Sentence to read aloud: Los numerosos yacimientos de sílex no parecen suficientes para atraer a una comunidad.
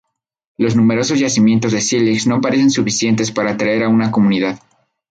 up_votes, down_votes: 2, 2